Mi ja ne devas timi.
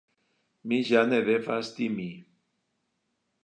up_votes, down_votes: 1, 2